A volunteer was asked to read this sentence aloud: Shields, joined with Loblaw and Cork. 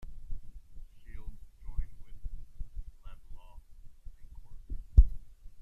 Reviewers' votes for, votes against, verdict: 0, 2, rejected